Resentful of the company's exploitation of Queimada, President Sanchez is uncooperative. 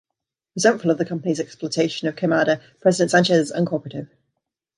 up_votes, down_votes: 2, 0